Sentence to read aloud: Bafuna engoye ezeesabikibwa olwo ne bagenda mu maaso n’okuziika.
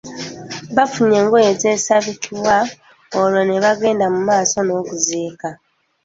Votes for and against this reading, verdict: 0, 2, rejected